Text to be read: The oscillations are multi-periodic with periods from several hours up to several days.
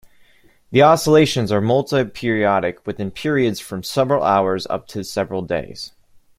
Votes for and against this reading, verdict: 2, 0, accepted